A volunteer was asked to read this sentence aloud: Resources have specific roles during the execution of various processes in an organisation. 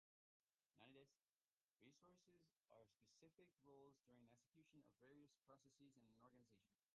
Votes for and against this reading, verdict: 0, 2, rejected